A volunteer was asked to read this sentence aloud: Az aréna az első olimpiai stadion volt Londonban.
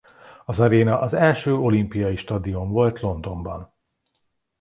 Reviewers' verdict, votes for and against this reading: accepted, 2, 0